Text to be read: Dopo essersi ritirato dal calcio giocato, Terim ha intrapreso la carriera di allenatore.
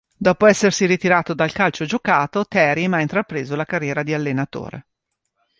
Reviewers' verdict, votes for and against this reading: accepted, 2, 0